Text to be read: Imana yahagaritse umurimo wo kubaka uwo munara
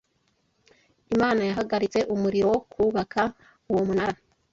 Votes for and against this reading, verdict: 0, 2, rejected